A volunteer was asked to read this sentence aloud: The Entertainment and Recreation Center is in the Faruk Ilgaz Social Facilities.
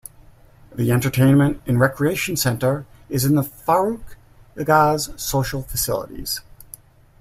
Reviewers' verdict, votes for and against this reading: rejected, 0, 2